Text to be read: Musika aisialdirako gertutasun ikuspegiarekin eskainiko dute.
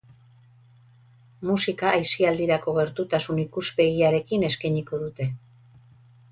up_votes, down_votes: 2, 2